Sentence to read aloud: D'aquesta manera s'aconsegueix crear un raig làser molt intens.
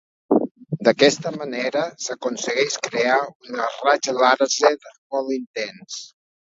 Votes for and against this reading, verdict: 0, 2, rejected